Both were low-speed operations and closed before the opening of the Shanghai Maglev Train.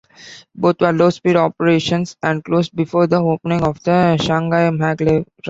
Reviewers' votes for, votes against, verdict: 1, 2, rejected